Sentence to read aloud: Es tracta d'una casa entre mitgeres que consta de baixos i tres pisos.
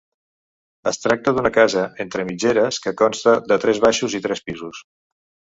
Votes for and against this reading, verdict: 0, 3, rejected